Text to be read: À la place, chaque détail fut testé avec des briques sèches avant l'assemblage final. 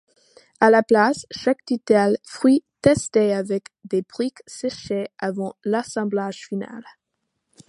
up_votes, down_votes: 1, 2